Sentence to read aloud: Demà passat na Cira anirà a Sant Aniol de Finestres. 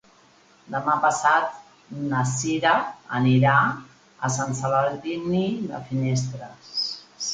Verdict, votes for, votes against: rejected, 0, 2